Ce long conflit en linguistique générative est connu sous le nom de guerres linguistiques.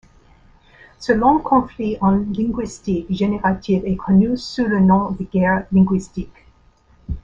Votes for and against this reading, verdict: 2, 0, accepted